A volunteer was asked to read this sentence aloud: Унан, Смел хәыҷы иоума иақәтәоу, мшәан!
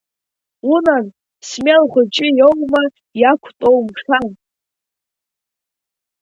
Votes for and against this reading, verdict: 1, 2, rejected